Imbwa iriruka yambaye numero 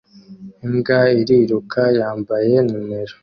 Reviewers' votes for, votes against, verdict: 3, 0, accepted